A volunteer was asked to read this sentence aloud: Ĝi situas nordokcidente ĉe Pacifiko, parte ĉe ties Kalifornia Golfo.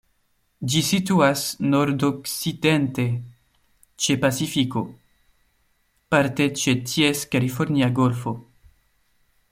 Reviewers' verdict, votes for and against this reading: rejected, 0, 2